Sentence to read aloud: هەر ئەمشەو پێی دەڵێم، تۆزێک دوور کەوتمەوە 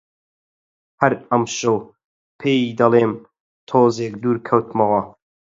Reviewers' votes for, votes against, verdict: 4, 0, accepted